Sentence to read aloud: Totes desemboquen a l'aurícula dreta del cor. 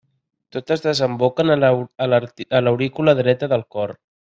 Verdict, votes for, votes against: rejected, 0, 2